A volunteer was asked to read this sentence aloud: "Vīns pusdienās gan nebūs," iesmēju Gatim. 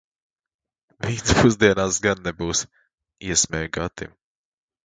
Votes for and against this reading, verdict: 1, 2, rejected